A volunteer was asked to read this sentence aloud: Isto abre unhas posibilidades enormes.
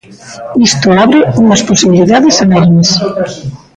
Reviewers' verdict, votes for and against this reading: rejected, 0, 2